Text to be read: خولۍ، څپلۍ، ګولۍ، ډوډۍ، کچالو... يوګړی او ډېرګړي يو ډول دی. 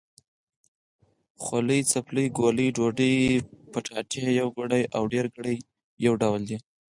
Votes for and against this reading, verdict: 4, 0, accepted